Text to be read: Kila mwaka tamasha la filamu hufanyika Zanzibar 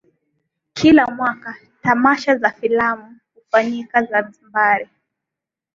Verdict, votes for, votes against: accepted, 4, 0